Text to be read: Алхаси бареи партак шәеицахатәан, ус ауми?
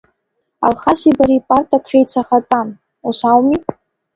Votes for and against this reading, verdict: 1, 2, rejected